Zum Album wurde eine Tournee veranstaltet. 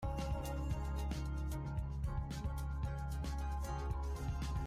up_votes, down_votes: 0, 2